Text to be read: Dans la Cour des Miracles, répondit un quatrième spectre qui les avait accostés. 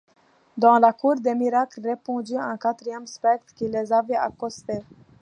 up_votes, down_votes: 2, 1